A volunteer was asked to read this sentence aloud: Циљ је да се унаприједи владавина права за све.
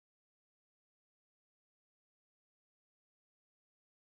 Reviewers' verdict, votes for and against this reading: rejected, 0, 2